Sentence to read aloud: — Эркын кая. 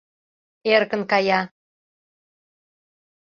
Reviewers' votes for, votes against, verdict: 2, 0, accepted